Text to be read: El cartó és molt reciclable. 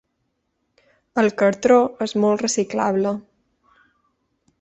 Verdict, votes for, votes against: rejected, 1, 2